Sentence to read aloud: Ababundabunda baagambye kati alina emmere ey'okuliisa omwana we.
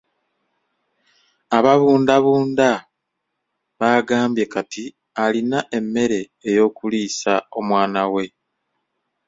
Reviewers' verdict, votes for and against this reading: accepted, 2, 0